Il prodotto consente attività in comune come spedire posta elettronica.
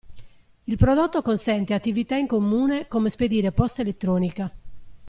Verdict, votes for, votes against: accepted, 2, 0